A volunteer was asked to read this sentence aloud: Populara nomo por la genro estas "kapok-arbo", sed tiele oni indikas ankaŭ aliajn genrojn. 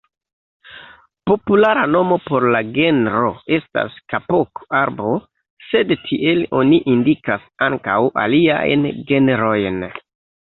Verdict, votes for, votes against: rejected, 2, 3